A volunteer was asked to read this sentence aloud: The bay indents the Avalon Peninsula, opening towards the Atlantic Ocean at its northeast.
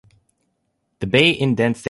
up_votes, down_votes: 1, 2